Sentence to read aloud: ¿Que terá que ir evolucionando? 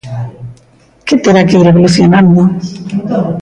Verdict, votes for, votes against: accepted, 2, 0